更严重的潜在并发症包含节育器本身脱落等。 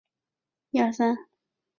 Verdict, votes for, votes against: rejected, 1, 3